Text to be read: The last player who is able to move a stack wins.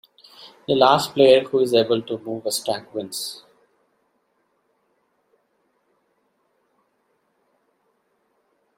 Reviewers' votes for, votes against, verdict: 2, 1, accepted